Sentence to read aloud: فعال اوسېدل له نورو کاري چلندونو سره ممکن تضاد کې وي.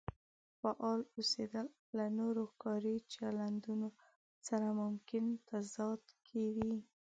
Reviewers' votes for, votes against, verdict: 2, 0, accepted